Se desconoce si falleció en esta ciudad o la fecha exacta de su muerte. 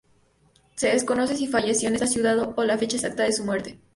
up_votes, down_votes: 0, 2